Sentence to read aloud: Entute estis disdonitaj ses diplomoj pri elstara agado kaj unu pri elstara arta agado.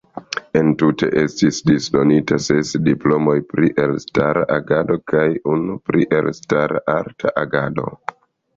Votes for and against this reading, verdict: 1, 2, rejected